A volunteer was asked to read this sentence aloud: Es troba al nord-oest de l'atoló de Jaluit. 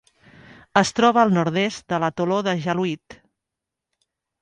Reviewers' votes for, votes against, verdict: 1, 2, rejected